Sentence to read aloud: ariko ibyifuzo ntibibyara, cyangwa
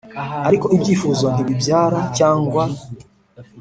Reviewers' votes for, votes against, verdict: 3, 0, accepted